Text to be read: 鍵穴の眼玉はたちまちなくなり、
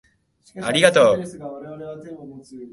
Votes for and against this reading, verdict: 0, 2, rejected